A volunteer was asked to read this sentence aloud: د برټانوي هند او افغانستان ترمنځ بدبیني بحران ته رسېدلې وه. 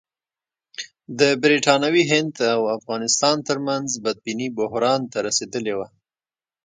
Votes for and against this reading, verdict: 1, 2, rejected